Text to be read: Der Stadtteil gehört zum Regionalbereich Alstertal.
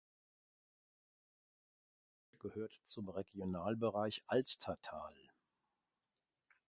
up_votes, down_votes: 0, 2